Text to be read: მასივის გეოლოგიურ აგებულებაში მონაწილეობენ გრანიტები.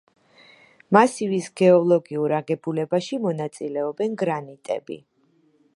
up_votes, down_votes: 2, 0